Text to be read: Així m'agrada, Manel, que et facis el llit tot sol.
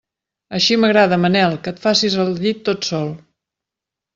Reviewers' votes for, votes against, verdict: 3, 0, accepted